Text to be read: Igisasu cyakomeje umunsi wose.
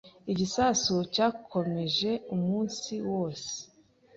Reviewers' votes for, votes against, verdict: 3, 0, accepted